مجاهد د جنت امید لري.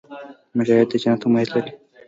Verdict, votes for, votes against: rejected, 1, 2